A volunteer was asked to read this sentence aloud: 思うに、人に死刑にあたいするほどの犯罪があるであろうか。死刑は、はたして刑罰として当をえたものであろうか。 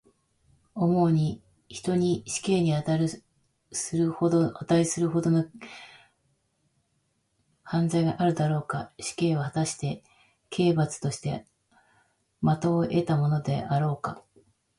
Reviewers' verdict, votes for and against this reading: rejected, 2, 3